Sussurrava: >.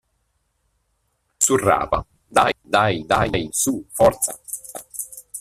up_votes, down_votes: 0, 2